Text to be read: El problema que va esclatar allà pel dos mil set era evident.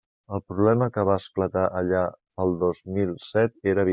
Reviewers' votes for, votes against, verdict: 1, 2, rejected